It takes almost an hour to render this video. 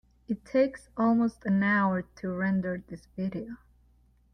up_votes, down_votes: 2, 0